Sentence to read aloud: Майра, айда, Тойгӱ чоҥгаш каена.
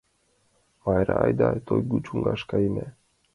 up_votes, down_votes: 2, 0